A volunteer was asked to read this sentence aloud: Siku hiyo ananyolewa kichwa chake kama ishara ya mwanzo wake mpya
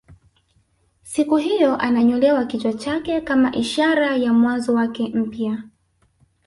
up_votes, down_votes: 2, 1